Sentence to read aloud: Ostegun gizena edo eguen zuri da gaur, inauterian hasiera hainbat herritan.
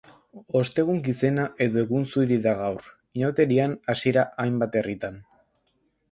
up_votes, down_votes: 0, 2